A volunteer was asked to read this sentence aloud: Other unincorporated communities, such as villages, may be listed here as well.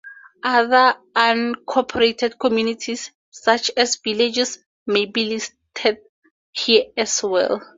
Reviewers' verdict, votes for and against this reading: accepted, 2, 0